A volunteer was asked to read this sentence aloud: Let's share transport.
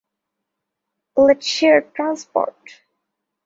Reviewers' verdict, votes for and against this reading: accepted, 2, 1